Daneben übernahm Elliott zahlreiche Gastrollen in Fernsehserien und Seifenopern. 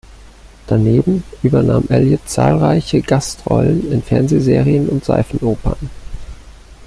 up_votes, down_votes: 2, 0